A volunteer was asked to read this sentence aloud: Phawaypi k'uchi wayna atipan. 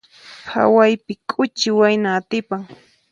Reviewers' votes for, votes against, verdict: 4, 0, accepted